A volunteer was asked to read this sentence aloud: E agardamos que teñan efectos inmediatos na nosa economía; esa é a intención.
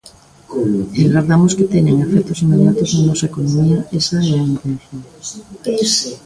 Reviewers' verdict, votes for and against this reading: rejected, 0, 2